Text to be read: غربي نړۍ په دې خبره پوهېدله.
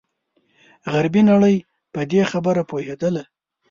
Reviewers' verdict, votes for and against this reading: accepted, 2, 0